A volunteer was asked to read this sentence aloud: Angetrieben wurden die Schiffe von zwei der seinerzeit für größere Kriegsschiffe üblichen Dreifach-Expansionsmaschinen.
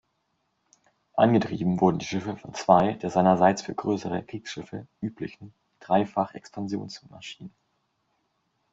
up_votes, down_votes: 1, 2